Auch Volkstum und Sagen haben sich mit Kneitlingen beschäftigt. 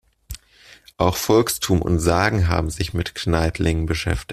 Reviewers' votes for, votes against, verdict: 1, 2, rejected